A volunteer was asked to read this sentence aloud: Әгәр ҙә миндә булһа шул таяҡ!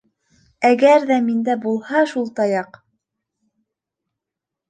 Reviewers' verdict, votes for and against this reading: accepted, 2, 0